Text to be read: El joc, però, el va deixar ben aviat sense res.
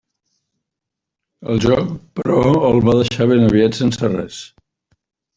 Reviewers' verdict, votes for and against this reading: accepted, 3, 0